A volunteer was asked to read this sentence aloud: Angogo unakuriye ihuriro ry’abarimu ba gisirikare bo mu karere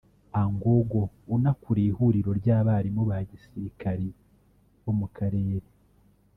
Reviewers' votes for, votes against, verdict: 1, 2, rejected